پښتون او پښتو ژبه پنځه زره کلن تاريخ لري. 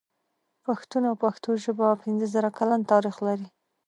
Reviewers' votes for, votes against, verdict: 2, 0, accepted